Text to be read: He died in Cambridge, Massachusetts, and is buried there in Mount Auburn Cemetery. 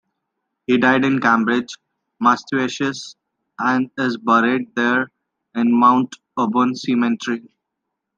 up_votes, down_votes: 0, 2